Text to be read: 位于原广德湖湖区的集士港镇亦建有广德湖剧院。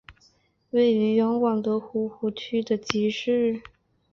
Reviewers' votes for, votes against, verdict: 2, 4, rejected